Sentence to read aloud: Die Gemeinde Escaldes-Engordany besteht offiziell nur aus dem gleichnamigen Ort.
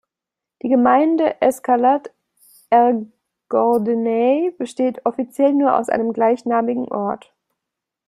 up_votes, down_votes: 0, 2